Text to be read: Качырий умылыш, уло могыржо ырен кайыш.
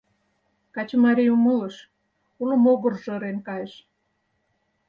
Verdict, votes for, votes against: rejected, 2, 4